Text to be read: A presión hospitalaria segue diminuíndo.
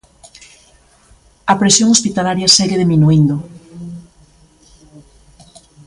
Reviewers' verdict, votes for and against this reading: accepted, 2, 1